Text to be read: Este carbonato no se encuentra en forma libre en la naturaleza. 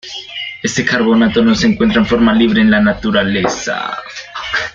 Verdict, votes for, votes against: rejected, 0, 2